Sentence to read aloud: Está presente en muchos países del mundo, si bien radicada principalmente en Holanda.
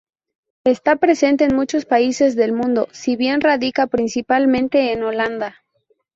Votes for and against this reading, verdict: 0, 2, rejected